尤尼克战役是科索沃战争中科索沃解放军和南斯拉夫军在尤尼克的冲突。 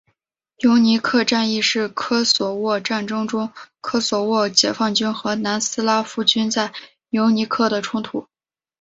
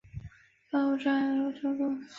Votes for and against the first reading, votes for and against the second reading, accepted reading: 2, 0, 0, 2, first